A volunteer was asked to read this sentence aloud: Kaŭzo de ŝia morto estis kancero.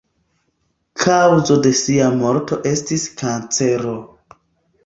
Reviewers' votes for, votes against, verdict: 0, 2, rejected